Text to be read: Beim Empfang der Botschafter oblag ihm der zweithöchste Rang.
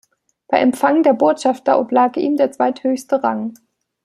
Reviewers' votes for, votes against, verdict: 1, 2, rejected